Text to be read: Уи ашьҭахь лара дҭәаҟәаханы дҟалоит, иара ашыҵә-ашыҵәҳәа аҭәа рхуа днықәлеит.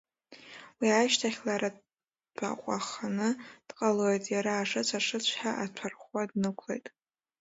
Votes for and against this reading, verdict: 0, 2, rejected